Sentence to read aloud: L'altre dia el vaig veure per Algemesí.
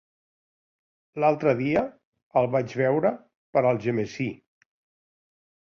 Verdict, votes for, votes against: accepted, 2, 0